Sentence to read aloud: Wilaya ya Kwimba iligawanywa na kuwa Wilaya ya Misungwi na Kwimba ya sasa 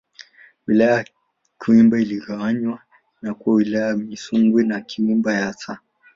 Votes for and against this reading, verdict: 0, 2, rejected